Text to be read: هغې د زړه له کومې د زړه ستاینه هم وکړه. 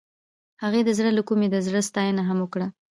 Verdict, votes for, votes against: accepted, 2, 0